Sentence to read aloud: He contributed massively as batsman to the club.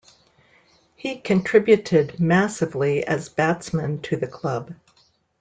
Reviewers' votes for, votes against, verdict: 2, 0, accepted